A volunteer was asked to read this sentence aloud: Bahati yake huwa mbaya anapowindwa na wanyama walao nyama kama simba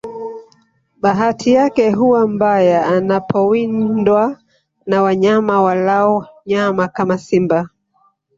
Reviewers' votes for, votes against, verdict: 1, 2, rejected